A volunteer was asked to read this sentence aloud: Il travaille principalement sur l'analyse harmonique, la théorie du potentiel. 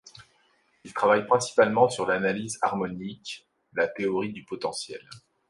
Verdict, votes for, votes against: accepted, 2, 0